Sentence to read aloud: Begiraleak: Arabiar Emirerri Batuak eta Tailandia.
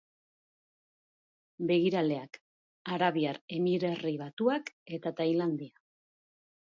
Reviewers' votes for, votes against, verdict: 2, 1, accepted